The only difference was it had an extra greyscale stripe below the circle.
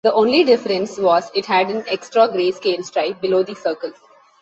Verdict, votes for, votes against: accepted, 2, 1